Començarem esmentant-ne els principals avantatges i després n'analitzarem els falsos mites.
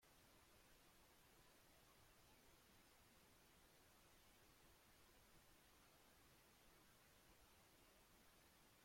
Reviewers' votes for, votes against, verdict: 0, 2, rejected